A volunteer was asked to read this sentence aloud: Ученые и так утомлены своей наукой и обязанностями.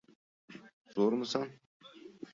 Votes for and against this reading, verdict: 0, 2, rejected